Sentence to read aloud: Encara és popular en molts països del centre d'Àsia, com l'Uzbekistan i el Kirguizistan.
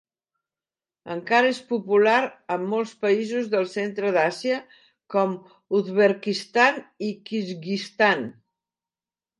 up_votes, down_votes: 1, 2